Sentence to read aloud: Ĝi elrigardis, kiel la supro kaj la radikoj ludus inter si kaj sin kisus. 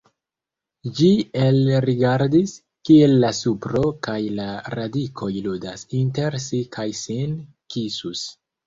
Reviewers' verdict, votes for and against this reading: rejected, 1, 2